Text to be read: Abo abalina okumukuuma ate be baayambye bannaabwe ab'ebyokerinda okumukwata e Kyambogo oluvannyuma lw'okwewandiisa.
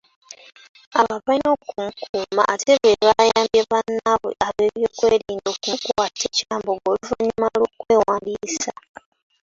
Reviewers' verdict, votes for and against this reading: rejected, 0, 2